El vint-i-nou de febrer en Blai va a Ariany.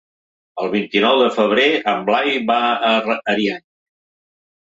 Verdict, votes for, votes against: rejected, 1, 2